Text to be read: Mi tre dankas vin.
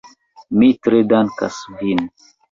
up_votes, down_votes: 2, 1